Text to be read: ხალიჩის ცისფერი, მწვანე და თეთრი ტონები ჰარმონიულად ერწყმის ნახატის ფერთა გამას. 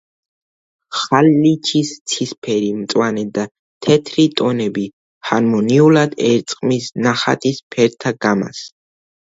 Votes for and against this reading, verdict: 1, 2, rejected